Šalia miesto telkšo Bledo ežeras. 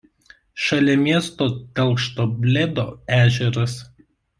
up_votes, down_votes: 1, 2